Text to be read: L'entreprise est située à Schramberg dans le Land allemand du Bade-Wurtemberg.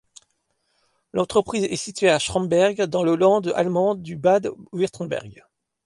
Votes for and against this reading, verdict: 0, 2, rejected